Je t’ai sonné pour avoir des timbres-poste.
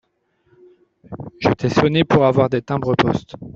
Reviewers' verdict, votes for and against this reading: rejected, 0, 2